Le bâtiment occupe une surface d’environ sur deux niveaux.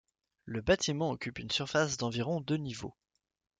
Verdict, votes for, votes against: rejected, 0, 2